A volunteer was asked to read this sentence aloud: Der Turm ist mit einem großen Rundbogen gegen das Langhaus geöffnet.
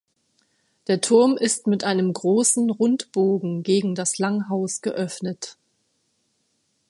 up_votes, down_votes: 3, 0